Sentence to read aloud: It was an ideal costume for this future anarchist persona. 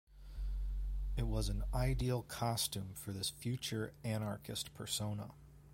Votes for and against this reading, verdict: 1, 2, rejected